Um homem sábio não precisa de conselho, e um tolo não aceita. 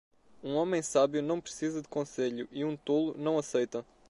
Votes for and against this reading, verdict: 2, 0, accepted